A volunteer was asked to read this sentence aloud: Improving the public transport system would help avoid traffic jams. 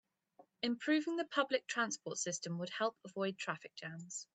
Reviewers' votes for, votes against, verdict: 2, 0, accepted